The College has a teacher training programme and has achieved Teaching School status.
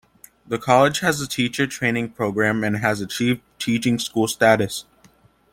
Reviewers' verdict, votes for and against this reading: accepted, 2, 0